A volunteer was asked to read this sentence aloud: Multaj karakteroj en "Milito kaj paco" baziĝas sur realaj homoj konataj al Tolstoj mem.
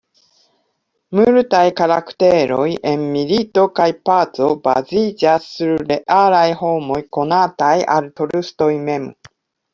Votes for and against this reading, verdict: 2, 0, accepted